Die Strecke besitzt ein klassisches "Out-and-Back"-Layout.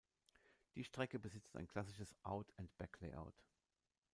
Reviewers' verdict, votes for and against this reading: rejected, 1, 2